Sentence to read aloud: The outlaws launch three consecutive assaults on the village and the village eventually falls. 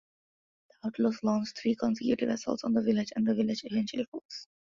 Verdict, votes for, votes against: rejected, 0, 2